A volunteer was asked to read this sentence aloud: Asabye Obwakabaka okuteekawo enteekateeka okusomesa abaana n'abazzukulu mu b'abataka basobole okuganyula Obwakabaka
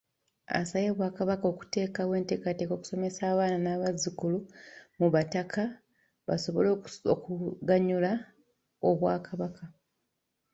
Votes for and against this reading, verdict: 1, 2, rejected